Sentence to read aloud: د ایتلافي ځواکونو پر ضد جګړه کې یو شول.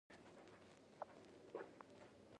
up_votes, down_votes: 0, 2